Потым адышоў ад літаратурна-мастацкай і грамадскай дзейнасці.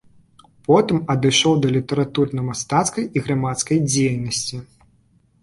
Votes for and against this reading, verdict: 1, 2, rejected